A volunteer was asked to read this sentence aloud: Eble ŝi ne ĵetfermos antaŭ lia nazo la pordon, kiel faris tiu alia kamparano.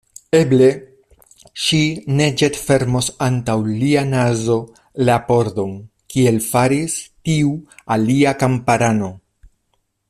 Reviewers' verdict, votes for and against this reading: accepted, 2, 0